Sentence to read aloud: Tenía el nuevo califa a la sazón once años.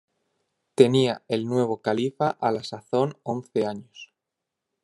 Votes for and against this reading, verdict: 2, 0, accepted